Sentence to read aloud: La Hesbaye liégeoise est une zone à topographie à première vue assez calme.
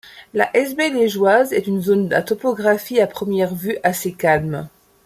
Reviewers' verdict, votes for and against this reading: accepted, 2, 1